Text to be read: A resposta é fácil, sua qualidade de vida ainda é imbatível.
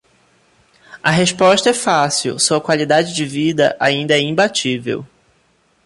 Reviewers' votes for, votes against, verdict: 1, 2, rejected